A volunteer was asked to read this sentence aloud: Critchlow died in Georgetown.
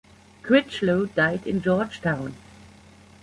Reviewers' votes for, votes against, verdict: 2, 0, accepted